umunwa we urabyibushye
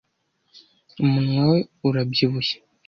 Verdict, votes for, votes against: accepted, 2, 0